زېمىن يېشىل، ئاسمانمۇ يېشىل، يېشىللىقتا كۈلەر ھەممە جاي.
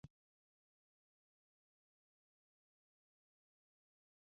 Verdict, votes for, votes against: rejected, 0, 2